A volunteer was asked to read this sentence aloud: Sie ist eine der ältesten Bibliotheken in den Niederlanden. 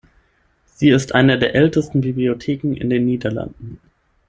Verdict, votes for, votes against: accepted, 6, 0